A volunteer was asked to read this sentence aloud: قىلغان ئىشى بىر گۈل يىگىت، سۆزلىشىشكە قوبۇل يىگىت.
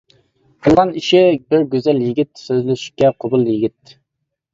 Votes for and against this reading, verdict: 0, 2, rejected